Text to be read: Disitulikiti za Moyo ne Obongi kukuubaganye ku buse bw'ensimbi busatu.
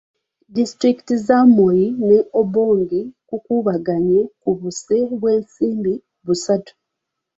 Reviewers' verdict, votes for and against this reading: rejected, 1, 2